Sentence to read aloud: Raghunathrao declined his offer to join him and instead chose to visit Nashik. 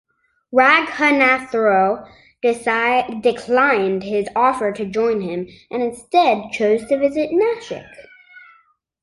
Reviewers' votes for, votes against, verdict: 0, 2, rejected